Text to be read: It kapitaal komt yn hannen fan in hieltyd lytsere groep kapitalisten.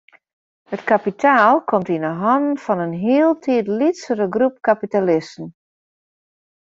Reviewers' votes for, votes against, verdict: 1, 2, rejected